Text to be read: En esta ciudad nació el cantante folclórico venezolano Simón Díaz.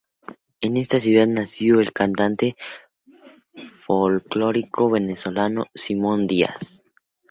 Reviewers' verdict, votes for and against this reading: accepted, 2, 0